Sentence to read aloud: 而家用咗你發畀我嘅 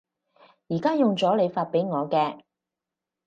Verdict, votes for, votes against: accepted, 4, 0